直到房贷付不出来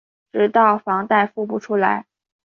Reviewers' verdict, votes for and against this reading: accepted, 2, 0